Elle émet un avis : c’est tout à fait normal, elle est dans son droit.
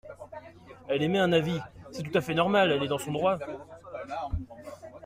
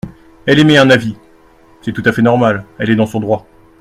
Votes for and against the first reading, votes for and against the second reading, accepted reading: 1, 2, 2, 0, second